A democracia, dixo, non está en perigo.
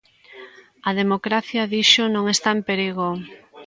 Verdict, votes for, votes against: rejected, 1, 2